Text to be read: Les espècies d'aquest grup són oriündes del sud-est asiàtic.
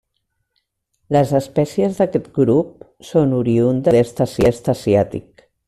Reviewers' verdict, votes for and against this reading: rejected, 0, 2